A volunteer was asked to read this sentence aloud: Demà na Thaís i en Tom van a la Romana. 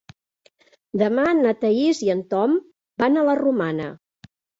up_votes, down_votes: 3, 0